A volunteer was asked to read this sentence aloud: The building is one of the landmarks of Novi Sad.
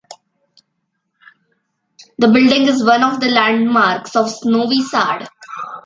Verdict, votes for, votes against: accepted, 2, 0